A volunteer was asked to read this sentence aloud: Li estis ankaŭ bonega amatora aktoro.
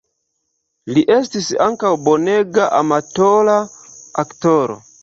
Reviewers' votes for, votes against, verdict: 2, 0, accepted